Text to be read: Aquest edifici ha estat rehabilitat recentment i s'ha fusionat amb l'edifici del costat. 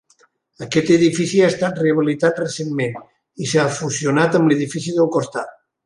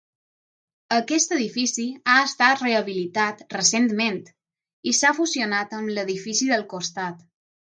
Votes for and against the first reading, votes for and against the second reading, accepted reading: 3, 0, 3, 3, first